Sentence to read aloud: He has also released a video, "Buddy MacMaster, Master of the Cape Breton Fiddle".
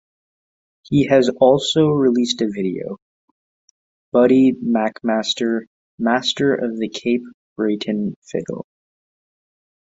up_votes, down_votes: 2, 0